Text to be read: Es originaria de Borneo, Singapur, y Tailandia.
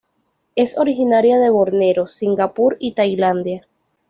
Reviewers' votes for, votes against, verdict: 0, 2, rejected